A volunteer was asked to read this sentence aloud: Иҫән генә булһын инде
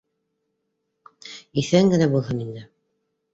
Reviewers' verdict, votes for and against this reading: accepted, 2, 0